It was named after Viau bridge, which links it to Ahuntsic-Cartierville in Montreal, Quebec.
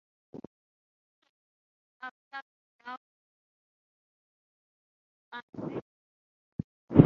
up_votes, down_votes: 3, 0